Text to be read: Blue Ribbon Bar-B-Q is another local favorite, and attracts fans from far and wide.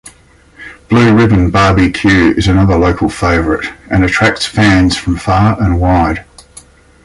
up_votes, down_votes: 2, 0